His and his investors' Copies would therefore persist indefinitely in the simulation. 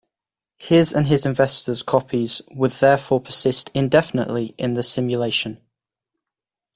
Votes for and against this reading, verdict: 2, 0, accepted